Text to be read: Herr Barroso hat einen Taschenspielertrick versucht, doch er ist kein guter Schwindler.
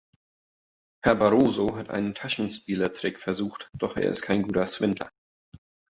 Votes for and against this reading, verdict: 3, 1, accepted